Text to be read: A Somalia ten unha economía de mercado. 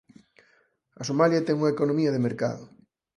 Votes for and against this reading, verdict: 4, 0, accepted